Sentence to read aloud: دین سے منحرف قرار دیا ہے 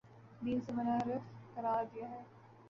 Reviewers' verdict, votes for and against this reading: rejected, 0, 2